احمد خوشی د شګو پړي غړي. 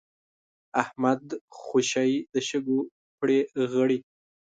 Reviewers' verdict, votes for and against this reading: rejected, 0, 2